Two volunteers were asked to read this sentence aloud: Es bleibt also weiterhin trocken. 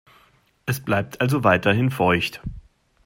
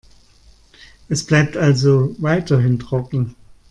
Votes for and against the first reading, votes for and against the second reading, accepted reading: 0, 2, 2, 1, second